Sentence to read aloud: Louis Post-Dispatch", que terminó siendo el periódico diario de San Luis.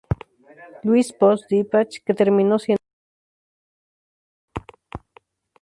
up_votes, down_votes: 0, 4